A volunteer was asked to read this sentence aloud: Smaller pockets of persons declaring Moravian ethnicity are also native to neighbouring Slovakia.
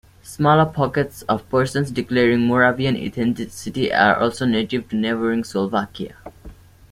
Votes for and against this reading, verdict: 2, 0, accepted